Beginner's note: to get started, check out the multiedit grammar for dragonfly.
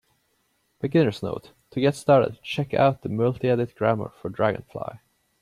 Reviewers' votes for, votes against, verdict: 2, 0, accepted